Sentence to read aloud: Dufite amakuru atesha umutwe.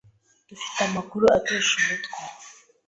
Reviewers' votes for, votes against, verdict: 2, 0, accepted